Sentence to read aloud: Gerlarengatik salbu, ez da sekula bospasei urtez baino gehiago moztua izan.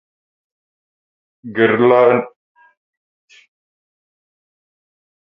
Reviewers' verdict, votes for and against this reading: rejected, 0, 4